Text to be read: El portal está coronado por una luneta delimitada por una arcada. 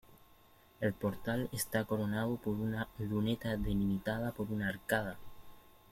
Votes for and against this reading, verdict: 2, 0, accepted